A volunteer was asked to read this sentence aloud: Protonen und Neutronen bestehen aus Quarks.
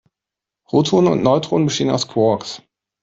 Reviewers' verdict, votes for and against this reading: accepted, 2, 0